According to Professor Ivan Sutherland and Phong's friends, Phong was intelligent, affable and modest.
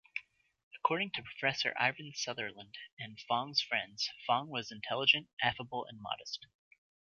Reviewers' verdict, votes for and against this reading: rejected, 1, 2